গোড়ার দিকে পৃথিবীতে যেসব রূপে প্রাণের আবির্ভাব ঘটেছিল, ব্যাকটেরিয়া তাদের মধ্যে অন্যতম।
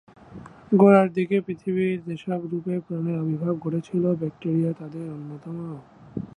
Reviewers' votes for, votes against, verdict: 0, 3, rejected